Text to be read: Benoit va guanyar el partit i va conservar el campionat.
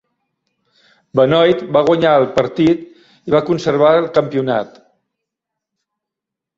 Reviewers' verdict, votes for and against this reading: rejected, 0, 2